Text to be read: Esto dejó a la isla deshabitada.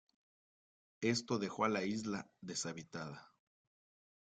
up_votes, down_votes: 2, 0